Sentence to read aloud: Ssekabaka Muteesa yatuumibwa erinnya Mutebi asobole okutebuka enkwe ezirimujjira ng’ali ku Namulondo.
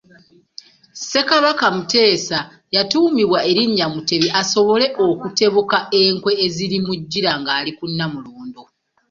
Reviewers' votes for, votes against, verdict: 2, 1, accepted